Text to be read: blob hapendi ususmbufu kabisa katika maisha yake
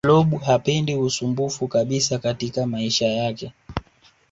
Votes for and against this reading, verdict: 2, 0, accepted